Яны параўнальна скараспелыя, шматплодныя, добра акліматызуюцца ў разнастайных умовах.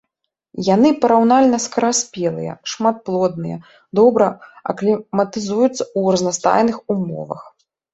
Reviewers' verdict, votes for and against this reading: rejected, 1, 3